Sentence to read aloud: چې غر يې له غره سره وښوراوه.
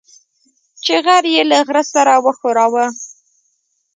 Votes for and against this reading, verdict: 1, 2, rejected